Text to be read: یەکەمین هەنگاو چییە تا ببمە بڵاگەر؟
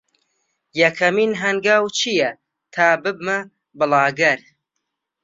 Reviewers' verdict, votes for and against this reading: accepted, 4, 0